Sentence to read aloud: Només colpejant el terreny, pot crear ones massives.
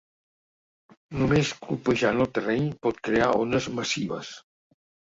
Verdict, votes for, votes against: accepted, 2, 0